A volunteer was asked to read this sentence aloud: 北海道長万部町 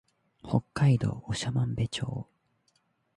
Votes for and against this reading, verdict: 2, 0, accepted